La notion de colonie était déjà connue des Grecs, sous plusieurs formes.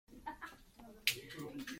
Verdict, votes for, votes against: rejected, 0, 2